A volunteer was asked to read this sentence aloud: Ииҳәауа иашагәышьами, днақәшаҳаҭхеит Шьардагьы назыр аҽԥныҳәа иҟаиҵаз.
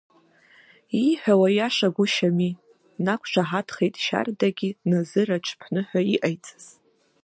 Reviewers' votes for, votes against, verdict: 2, 1, accepted